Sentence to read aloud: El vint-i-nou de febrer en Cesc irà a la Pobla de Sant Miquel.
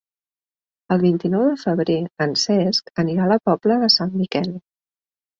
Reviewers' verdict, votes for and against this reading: rejected, 1, 2